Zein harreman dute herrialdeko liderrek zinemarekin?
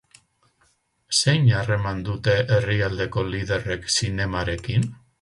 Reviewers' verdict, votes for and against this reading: accepted, 4, 2